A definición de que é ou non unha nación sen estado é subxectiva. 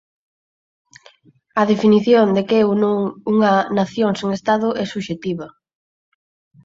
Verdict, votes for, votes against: accepted, 4, 2